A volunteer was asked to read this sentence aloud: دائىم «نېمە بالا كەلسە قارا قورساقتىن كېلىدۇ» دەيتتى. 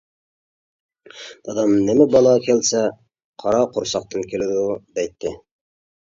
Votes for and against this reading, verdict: 1, 2, rejected